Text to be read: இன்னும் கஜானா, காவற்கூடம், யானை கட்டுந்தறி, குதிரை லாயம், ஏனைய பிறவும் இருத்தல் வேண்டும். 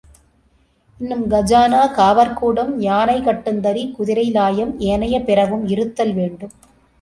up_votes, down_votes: 3, 0